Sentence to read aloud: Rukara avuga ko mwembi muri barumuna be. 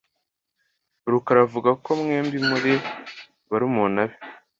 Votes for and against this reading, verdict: 2, 0, accepted